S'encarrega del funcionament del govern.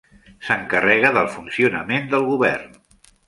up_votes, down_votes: 3, 0